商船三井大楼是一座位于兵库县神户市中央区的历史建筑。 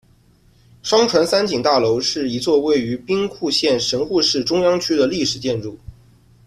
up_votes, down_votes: 2, 0